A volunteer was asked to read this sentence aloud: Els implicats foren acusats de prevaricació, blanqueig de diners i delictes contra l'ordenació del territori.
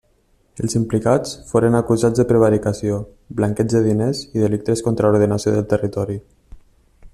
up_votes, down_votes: 2, 0